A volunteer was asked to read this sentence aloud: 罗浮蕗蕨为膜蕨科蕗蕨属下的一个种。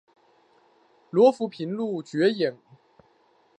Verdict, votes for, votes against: rejected, 0, 2